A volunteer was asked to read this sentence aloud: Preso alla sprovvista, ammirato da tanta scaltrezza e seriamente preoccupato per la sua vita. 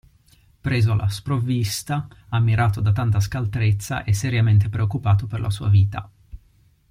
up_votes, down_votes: 2, 0